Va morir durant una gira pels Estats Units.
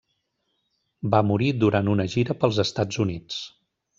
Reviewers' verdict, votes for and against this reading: accepted, 3, 0